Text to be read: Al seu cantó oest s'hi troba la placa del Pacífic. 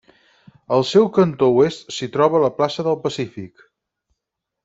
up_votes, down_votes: 2, 4